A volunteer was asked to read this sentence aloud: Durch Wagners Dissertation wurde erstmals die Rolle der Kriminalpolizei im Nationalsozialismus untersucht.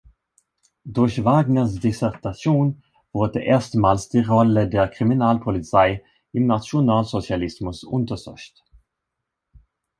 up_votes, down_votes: 1, 3